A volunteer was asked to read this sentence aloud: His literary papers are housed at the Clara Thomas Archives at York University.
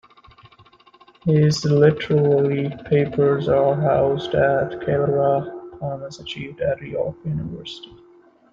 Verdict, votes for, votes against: rejected, 0, 2